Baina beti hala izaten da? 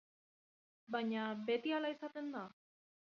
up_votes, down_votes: 2, 0